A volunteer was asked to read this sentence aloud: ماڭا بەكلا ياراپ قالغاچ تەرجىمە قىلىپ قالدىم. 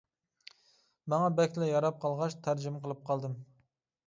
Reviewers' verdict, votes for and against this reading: accepted, 2, 0